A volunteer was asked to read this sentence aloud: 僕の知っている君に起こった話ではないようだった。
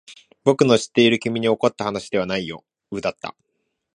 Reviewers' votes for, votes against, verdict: 0, 2, rejected